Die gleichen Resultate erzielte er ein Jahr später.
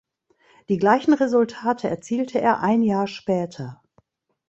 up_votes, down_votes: 2, 0